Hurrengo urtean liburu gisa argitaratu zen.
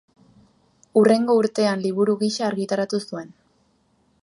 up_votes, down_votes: 0, 2